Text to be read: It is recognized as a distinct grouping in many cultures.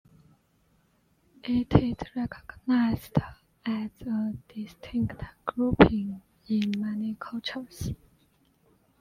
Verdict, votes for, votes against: rejected, 1, 2